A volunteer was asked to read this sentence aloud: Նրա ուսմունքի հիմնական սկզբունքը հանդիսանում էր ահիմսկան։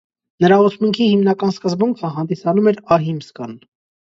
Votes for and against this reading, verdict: 1, 2, rejected